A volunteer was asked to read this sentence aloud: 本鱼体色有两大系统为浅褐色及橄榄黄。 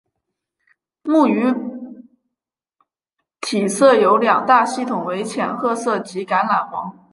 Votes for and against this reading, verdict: 0, 2, rejected